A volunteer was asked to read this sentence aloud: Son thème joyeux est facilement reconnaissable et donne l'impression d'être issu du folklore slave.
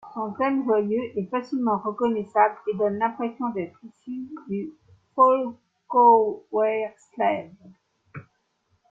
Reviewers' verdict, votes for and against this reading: rejected, 0, 2